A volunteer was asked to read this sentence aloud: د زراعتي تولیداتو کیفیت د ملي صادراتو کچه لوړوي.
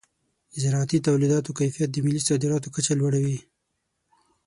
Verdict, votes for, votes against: accepted, 6, 0